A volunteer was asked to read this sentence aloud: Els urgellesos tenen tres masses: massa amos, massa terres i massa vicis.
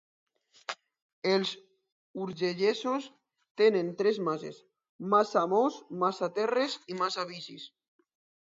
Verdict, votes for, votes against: accepted, 2, 0